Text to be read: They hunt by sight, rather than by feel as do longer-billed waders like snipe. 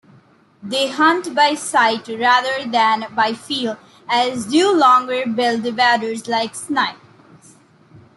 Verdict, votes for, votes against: rejected, 1, 2